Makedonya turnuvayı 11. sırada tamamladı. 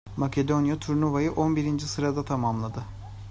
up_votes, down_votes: 0, 2